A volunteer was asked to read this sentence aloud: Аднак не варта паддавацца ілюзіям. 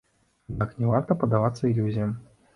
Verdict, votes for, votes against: rejected, 0, 2